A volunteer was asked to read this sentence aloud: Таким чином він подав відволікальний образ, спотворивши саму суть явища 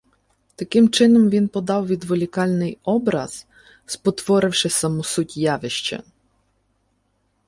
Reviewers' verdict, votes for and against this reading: accepted, 2, 0